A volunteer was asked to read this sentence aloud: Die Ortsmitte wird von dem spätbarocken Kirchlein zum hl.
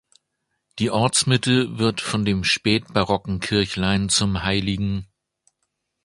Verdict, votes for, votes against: accepted, 2, 1